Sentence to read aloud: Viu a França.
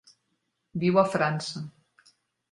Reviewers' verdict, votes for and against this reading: accepted, 4, 1